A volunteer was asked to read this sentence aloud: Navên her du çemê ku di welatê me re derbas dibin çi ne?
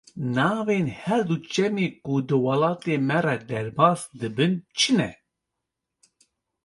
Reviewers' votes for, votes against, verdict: 2, 0, accepted